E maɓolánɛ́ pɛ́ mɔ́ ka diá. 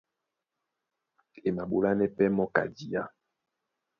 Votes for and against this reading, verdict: 2, 1, accepted